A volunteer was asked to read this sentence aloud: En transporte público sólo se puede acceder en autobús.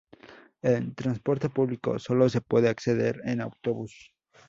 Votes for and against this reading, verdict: 4, 0, accepted